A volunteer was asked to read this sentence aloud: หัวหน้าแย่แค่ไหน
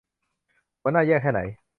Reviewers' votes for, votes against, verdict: 3, 0, accepted